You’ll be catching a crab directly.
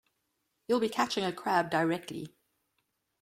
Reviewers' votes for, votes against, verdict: 2, 0, accepted